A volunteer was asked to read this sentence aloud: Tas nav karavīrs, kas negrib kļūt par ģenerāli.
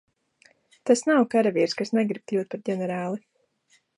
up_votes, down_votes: 1, 2